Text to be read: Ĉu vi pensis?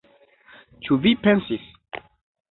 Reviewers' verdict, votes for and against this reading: accepted, 2, 0